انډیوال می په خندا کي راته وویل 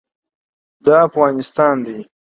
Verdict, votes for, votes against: rejected, 0, 2